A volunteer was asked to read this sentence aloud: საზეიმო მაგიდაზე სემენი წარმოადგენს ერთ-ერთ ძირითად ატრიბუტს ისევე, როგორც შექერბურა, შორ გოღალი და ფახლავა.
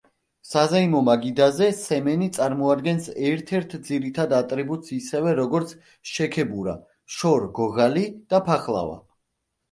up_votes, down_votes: 0, 2